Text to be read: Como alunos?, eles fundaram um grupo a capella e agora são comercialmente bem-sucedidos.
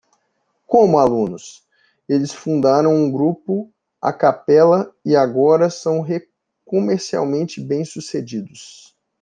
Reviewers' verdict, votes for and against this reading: rejected, 0, 2